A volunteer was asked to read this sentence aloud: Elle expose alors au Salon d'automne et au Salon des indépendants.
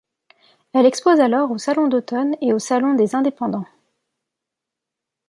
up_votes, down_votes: 2, 0